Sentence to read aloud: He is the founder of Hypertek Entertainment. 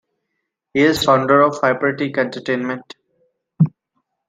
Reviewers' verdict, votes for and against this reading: rejected, 0, 2